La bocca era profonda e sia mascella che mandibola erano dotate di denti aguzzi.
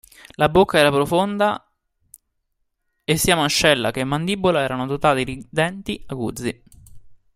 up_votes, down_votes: 1, 2